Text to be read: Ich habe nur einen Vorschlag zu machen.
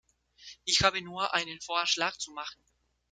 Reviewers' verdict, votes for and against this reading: accepted, 2, 0